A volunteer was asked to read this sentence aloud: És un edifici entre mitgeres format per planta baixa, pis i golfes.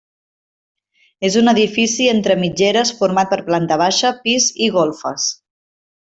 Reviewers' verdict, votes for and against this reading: accepted, 3, 0